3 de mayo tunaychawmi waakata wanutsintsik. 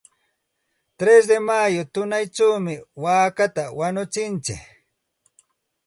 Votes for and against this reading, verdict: 0, 2, rejected